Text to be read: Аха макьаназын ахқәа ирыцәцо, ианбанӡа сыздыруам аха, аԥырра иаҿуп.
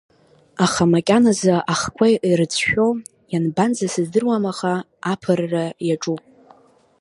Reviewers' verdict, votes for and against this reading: rejected, 0, 2